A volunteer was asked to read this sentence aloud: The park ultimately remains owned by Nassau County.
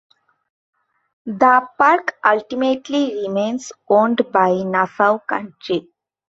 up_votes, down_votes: 0, 2